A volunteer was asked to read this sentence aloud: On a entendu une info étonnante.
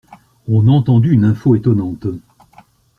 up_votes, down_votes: 1, 2